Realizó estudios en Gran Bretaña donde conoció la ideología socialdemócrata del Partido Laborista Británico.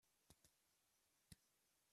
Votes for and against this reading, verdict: 0, 2, rejected